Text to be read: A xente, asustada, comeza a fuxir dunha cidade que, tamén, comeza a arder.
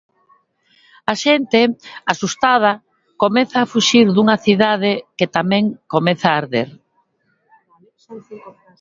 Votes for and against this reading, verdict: 2, 0, accepted